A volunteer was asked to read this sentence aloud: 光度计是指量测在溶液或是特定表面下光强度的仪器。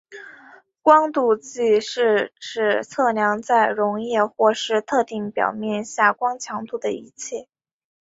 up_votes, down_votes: 3, 1